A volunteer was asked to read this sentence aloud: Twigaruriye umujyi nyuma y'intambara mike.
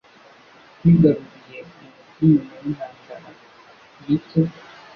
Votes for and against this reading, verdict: 1, 2, rejected